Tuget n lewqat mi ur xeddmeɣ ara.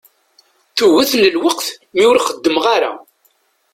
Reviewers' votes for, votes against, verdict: 1, 2, rejected